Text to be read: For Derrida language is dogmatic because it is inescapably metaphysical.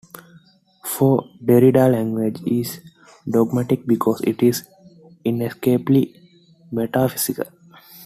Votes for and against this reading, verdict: 2, 1, accepted